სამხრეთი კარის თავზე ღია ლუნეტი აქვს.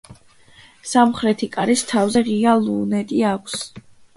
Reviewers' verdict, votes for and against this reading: accepted, 2, 1